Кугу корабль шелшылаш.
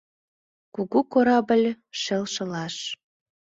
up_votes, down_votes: 2, 0